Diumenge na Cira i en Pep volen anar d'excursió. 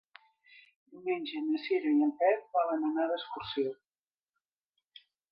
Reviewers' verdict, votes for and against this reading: rejected, 0, 2